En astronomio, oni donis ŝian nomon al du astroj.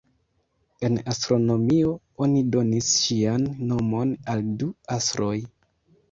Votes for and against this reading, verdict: 1, 2, rejected